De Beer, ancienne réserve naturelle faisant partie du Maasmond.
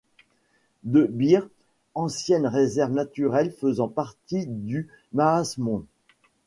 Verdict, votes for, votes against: accepted, 2, 0